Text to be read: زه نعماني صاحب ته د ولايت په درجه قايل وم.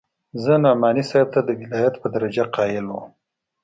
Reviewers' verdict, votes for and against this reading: accepted, 2, 0